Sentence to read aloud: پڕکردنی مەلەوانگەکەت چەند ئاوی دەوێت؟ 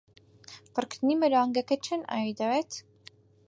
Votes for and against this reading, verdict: 4, 0, accepted